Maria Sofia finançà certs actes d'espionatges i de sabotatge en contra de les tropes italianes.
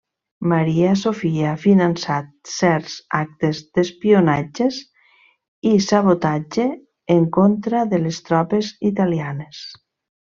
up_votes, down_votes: 1, 2